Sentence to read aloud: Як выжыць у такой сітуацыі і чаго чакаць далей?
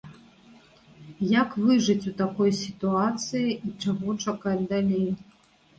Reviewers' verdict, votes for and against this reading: accepted, 2, 1